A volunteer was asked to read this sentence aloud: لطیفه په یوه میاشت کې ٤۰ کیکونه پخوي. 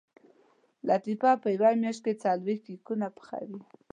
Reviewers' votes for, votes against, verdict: 0, 2, rejected